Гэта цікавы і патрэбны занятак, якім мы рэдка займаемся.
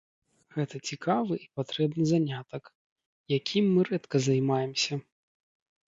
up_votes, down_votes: 2, 0